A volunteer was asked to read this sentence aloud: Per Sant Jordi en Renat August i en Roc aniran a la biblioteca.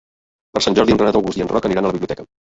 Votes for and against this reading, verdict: 2, 1, accepted